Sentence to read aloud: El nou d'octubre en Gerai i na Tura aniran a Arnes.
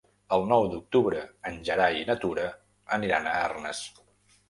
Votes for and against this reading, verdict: 3, 0, accepted